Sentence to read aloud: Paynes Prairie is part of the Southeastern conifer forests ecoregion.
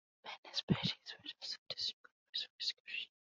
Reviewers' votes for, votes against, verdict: 0, 2, rejected